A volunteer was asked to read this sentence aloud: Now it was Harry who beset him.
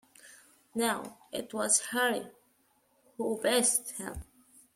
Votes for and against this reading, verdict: 0, 2, rejected